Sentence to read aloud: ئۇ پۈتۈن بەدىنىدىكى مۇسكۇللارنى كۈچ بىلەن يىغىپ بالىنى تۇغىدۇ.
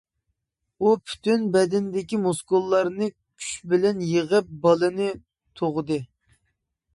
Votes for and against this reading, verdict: 0, 2, rejected